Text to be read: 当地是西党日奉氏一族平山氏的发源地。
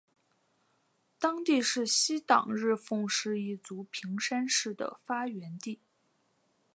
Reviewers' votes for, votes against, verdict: 2, 0, accepted